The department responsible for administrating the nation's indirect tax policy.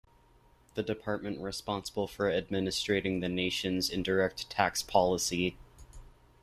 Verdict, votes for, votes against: accepted, 2, 0